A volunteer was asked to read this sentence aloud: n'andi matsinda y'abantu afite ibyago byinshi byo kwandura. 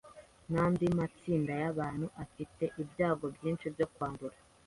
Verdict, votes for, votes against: accepted, 2, 0